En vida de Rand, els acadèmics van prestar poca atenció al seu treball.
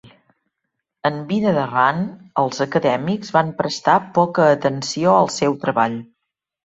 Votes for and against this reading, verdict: 2, 0, accepted